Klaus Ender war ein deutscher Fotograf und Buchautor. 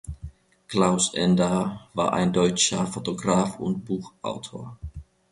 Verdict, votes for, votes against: accepted, 2, 1